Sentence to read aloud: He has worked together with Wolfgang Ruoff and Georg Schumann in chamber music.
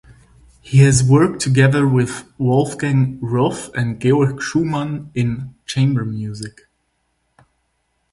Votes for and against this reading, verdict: 4, 0, accepted